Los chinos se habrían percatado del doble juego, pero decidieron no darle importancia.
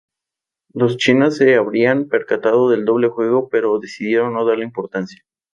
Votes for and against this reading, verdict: 4, 0, accepted